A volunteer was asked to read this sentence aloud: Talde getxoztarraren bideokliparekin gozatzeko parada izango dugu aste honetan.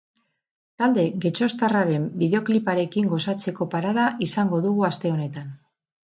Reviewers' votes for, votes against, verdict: 4, 0, accepted